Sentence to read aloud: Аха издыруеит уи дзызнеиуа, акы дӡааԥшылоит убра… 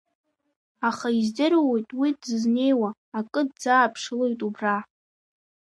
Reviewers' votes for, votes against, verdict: 1, 2, rejected